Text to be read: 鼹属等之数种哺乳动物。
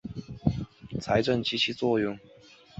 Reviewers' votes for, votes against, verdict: 3, 2, accepted